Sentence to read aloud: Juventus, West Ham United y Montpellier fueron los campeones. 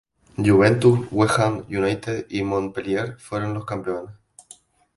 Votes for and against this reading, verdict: 0, 2, rejected